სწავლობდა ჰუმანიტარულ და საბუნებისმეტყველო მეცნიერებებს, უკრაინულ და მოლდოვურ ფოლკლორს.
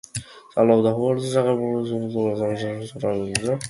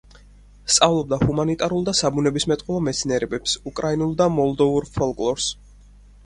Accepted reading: second